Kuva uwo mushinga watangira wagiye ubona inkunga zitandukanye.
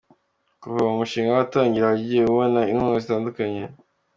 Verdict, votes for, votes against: accepted, 2, 0